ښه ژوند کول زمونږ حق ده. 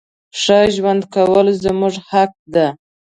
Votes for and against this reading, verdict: 0, 2, rejected